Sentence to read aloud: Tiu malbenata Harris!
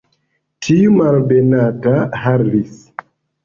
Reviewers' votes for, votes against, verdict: 1, 3, rejected